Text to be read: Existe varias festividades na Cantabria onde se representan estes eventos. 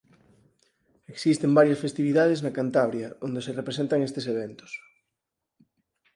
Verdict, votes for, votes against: rejected, 4, 6